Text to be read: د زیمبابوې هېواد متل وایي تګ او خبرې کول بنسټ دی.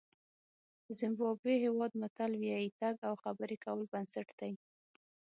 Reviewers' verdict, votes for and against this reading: rejected, 3, 6